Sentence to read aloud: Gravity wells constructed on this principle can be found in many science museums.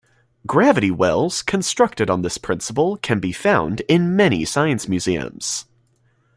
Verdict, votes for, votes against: accepted, 2, 0